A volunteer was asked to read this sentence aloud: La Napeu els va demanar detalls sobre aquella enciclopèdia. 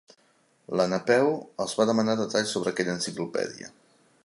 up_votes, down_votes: 4, 0